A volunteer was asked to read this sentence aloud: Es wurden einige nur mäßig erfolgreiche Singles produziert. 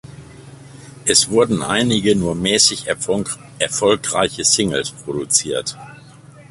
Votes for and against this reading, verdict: 0, 2, rejected